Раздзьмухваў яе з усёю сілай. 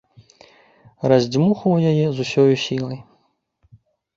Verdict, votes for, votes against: accepted, 2, 0